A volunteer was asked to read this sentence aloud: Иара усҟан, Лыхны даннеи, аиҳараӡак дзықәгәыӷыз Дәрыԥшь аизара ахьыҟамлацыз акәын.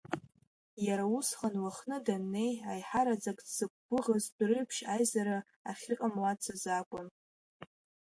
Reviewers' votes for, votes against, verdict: 2, 0, accepted